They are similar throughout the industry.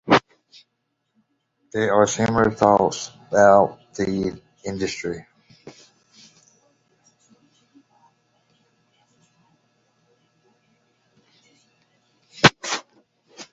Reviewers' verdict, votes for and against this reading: rejected, 0, 2